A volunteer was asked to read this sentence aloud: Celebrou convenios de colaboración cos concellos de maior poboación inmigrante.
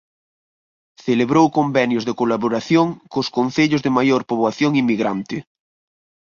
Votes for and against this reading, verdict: 4, 0, accepted